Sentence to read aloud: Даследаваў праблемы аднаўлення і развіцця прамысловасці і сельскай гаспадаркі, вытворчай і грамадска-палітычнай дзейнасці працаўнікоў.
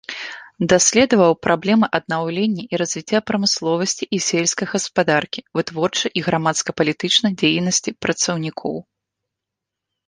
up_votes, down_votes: 2, 0